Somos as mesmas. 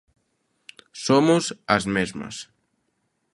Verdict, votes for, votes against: accepted, 2, 0